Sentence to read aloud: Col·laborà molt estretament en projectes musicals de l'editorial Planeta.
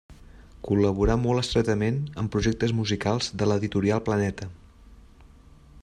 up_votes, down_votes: 3, 0